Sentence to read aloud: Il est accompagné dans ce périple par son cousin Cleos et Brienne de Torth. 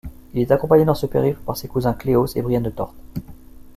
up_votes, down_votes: 1, 2